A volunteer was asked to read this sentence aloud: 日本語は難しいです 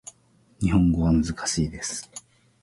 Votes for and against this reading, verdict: 2, 0, accepted